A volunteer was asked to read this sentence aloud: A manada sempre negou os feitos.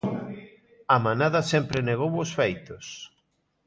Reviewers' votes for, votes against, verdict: 2, 0, accepted